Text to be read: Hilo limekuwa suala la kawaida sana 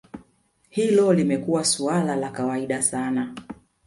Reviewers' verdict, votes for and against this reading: accepted, 2, 0